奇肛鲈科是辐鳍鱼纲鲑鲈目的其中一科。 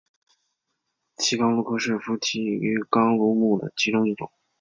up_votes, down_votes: 3, 1